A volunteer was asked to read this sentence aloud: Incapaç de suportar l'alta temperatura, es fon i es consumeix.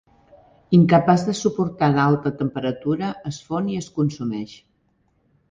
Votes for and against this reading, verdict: 2, 0, accepted